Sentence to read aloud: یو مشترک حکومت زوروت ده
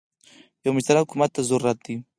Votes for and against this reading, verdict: 4, 2, accepted